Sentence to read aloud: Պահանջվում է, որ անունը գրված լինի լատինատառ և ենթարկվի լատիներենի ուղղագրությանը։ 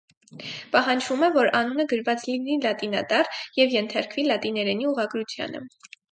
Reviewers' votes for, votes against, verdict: 4, 0, accepted